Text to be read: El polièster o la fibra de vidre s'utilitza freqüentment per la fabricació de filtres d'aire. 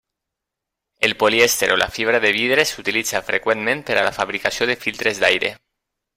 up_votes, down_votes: 1, 2